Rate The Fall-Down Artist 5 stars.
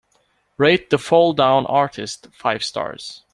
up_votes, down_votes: 0, 2